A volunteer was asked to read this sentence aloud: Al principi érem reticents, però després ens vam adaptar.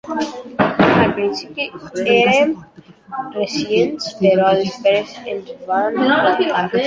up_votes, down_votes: 0, 2